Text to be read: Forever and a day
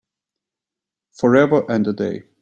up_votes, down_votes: 2, 0